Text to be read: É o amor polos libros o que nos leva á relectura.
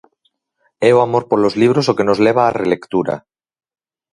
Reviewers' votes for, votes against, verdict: 4, 0, accepted